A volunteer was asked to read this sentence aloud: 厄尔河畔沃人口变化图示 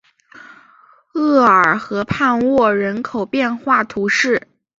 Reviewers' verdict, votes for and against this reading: accepted, 3, 0